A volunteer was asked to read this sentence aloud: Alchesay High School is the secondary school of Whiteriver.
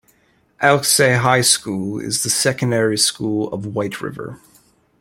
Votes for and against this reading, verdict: 2, 0, accepted